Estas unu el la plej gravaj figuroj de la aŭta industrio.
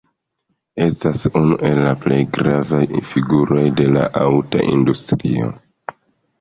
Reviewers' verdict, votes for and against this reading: rejected, 0, 2